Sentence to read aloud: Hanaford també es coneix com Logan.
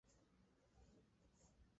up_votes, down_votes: 0, 2